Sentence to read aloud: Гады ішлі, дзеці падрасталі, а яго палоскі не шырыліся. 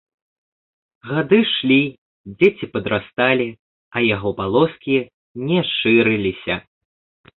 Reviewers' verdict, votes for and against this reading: rejected, 1, 2